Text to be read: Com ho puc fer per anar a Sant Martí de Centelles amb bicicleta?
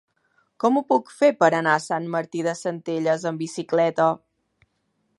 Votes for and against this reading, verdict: 3, 0, accepted